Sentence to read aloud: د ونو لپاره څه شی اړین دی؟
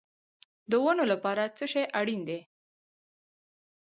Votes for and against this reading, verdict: 2, 2, rejected